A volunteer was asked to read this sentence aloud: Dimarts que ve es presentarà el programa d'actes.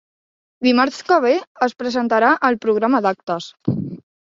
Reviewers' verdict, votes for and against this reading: accepted, 3, 1